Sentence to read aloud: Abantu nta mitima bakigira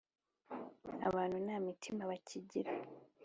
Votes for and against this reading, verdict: 2, 0, accepted